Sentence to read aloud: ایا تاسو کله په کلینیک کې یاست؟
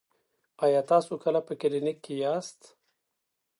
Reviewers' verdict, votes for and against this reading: accepted, 2, 0